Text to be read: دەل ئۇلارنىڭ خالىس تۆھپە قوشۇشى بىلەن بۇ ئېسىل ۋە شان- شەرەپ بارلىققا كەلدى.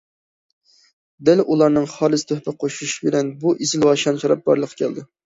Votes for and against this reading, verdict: 2, 0, accepted